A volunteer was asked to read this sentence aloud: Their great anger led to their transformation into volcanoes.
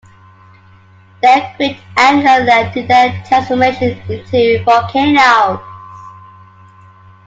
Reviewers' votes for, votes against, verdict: 1, 2, rejected